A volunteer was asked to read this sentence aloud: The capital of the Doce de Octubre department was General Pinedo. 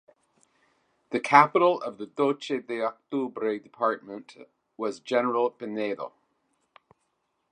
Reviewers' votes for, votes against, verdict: 2, 0, accepted